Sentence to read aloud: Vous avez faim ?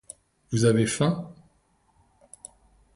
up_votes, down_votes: 2, 0